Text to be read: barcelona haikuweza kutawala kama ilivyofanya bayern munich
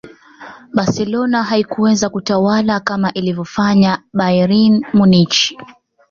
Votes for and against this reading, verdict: 0, 2, rejected